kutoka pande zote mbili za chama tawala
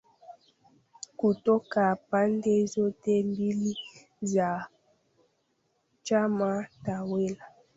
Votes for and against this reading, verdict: 0, 2, rejected